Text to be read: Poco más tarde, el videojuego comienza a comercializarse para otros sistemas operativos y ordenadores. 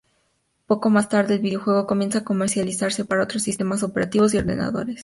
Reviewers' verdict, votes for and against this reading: accepted, 2, 0